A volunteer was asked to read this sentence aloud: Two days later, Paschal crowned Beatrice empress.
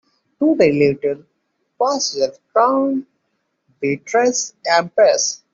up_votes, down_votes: 0, 2